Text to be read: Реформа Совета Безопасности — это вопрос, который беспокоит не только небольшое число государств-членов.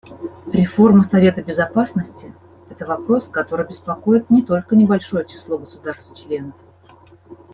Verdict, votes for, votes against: accepted, 2, 0